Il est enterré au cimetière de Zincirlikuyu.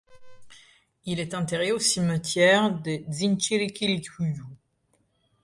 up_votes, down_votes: 0, 2